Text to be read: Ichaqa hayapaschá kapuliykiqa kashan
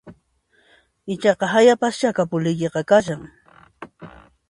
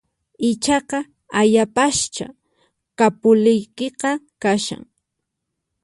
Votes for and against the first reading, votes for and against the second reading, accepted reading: 2, 0, 0, 4, first